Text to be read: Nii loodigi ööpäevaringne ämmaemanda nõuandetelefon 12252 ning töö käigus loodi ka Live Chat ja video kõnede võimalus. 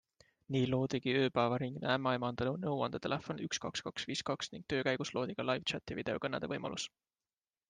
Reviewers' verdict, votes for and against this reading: rejected, 0, 2